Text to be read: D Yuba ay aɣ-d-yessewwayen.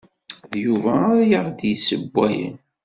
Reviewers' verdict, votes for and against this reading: accepted, 2, 0